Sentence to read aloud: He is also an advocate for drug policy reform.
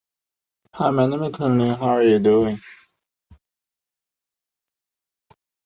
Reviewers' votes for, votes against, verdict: 0, 2, rejected